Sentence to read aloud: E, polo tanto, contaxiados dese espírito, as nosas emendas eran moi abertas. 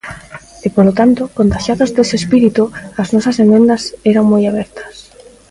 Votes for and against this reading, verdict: 0, 2, rejected